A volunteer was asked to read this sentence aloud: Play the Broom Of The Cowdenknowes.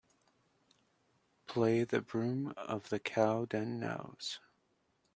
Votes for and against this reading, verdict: 2, 0, accepted